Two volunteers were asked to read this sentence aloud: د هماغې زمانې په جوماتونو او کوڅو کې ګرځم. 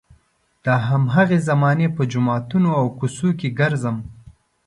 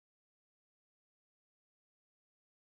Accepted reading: first